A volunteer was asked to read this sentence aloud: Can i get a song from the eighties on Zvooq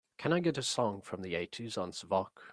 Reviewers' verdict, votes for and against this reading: accepted, 4, 0